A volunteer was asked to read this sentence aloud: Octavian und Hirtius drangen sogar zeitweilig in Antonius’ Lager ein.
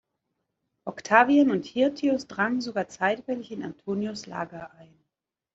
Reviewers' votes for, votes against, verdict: 2, 1, accepted